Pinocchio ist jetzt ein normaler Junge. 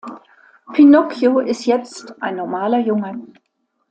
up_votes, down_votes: 2, 0